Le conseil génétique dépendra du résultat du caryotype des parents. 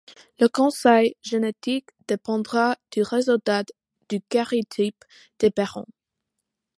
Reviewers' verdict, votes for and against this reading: rejected, 0, 2